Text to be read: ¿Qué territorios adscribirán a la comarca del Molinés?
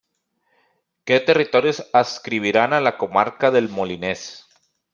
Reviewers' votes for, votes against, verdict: 2, 0, accepted